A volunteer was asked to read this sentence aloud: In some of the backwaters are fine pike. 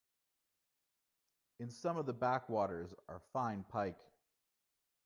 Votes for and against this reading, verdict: 1, 2, rejected